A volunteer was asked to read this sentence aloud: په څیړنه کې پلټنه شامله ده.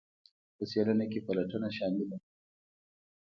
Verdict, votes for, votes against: accepted, 2, 0